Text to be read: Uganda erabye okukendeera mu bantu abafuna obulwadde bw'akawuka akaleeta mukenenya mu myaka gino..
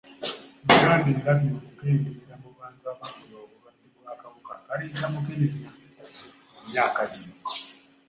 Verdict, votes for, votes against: rejected, 0, 2